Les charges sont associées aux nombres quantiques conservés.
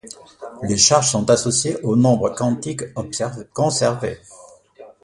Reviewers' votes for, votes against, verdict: 0, 2, rejected